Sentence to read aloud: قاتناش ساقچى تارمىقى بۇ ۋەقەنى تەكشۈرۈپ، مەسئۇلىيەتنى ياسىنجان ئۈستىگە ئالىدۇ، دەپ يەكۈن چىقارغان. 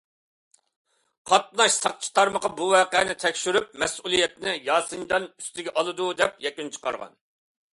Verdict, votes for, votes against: accepted, 2, 0